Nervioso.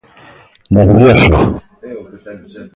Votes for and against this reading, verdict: 1, 2, rejected